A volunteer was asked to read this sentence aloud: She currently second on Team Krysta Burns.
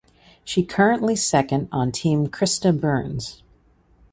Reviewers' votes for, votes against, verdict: 2, 0, accepted